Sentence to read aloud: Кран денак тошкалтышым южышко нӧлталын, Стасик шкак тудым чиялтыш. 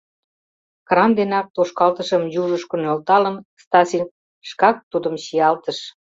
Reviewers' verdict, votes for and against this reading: rejected, 0, 2